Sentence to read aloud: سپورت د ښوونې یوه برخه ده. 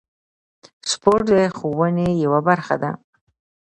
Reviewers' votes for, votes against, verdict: 0, 2, rejected